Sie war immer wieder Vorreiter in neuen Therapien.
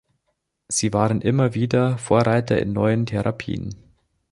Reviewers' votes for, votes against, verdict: 0, 2, rejected